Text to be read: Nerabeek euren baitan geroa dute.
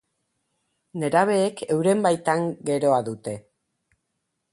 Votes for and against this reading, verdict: 0, 2, rejected